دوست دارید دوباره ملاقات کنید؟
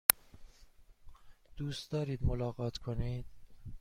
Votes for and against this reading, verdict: 1, 2, rejected